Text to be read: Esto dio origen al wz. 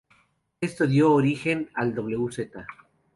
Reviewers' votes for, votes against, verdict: 0, 2, rejected